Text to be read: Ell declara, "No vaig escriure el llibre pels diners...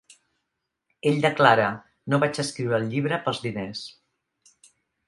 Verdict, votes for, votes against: accepted, 2, 0